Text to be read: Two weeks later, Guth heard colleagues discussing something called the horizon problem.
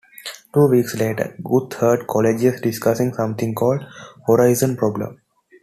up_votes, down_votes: 1, 2